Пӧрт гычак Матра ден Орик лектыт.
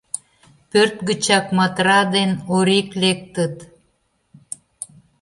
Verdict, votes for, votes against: accepted, 2, 0